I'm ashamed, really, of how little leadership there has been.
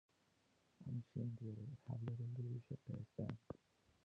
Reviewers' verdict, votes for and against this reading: rejected, 1, 2